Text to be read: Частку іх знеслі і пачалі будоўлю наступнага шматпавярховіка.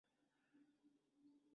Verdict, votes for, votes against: rejected, 0, 3